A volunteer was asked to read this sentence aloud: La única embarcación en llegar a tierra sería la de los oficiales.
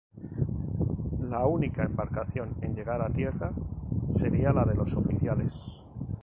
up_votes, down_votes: 0, 2